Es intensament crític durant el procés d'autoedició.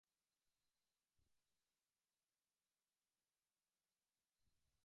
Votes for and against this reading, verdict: 0, 2, rejected